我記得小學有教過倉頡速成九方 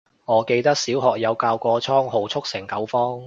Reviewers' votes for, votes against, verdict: 0, 2, rejected